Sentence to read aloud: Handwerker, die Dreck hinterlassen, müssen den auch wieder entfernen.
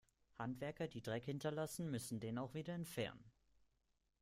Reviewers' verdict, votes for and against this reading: accepted, 2, 0